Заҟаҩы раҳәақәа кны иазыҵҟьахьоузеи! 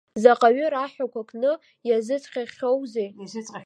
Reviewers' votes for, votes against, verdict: 0, 3, rejected